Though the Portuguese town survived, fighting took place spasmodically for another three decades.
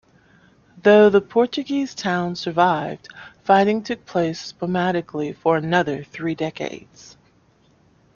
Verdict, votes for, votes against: accepted, 2, 0